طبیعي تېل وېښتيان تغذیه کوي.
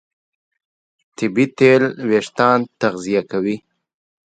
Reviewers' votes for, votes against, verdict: 2, 1, accepted